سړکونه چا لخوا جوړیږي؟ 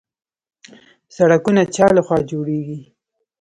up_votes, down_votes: 0, 2